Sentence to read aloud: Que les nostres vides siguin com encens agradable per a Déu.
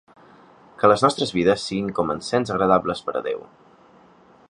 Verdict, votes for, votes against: rejected, 1, 2